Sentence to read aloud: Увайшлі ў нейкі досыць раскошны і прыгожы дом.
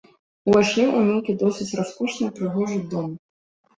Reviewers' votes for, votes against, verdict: 2, 1, accepted